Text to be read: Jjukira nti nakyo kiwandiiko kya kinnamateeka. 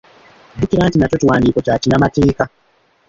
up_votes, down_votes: 1, 2